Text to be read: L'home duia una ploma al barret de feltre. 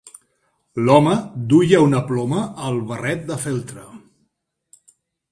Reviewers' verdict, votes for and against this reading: accepted, 3, 0